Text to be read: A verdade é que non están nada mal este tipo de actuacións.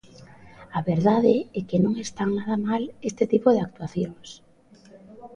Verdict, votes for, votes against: rejected, 1, 2